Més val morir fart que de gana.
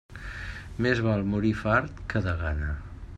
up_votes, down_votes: 2, 0